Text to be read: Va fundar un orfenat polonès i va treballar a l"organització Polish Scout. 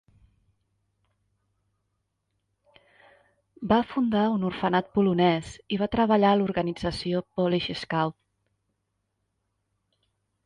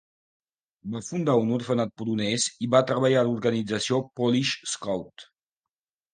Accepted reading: second